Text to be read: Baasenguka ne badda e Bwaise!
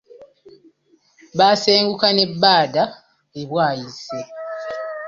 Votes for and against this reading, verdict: 1, 2, rejected